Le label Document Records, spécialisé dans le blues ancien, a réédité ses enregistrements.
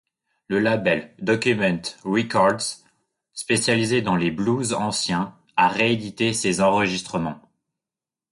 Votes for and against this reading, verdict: 0, 2, rejected